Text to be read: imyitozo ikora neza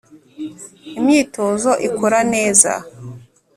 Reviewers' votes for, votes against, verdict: 2, 0, accepted